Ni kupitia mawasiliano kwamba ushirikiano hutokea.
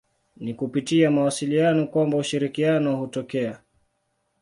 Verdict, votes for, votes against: accepted, 2, 0